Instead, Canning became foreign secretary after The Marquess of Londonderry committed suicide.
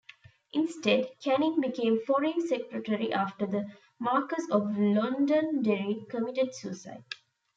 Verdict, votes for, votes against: rejected, 1, 2